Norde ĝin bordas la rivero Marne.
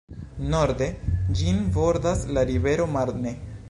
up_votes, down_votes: 1, 2